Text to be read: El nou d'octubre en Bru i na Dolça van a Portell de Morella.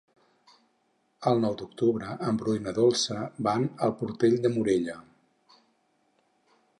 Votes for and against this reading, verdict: 4, 2, accepted